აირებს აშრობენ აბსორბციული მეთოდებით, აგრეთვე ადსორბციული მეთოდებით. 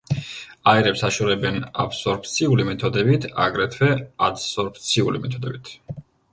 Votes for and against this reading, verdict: 1, 2, rejected